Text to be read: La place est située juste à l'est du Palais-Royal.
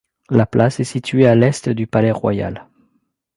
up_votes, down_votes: 0, 2